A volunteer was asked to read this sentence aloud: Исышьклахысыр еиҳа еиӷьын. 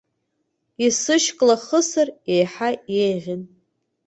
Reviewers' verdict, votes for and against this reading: accepted, 2, 0